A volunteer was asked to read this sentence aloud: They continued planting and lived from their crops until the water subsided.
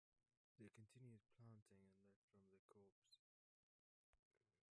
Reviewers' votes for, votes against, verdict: 0, 3, rejected